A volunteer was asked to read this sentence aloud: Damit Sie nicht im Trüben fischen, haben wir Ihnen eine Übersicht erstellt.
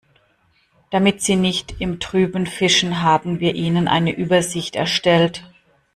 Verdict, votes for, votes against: rejected, 1, 2